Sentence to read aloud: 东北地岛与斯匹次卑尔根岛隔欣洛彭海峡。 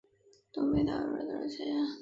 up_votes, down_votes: 0, 4